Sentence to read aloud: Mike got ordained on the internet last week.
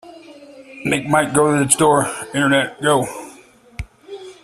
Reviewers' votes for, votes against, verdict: 1, 2, rejected